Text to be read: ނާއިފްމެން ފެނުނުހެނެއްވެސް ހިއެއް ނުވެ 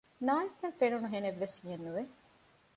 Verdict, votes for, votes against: rejected, 1, 2